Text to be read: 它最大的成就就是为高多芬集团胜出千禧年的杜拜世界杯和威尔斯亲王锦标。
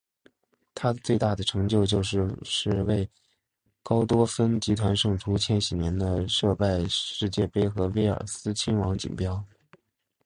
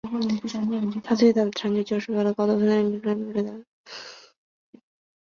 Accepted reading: first